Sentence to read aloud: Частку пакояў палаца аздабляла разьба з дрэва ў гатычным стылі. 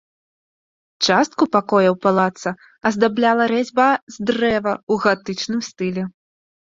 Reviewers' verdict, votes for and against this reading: rejected, 1, 2